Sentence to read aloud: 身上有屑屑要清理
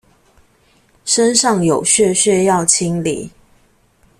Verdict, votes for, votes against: accepted, 2, 0